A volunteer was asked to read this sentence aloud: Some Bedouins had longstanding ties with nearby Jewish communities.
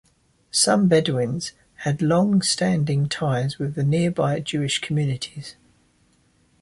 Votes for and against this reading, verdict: 1, 2, rejected